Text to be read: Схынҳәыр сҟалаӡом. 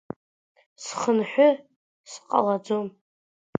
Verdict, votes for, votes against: accepted, 2, 0